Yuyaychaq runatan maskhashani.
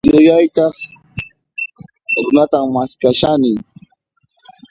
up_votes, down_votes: 1, 2